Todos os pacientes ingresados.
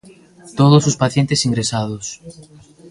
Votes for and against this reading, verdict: 1, 2, rejected